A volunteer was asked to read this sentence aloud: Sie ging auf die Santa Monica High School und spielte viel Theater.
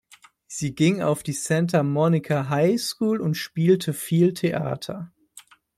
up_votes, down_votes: 2, 0